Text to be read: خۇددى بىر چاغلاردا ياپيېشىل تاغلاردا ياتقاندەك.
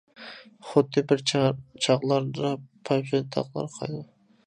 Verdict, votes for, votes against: rejected, 0, 2